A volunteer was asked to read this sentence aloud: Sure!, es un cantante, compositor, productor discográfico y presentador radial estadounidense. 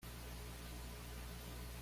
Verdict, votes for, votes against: rejected, 1, 2